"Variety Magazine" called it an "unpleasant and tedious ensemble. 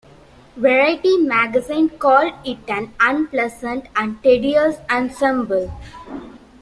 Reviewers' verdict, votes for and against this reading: rejected, 1, 2